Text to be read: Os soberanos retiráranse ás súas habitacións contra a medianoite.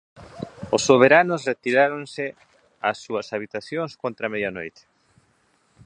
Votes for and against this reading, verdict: 1, 2, rejected